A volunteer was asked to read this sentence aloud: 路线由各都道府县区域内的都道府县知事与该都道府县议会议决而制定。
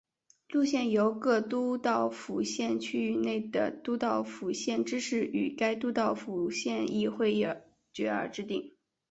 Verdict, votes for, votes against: accepted, 2, 0